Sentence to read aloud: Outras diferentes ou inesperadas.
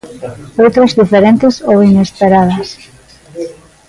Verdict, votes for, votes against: accepted, 2, 0